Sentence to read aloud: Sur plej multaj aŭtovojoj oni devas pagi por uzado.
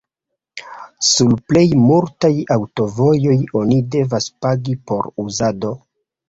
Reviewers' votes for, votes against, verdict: 1, 2, rejected